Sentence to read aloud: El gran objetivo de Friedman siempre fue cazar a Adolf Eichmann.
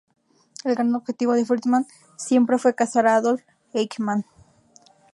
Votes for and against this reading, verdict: 0, 2, rejected